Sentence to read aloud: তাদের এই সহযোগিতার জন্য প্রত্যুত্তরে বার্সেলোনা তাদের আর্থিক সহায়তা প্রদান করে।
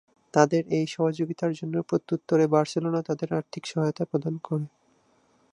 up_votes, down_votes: 2, 0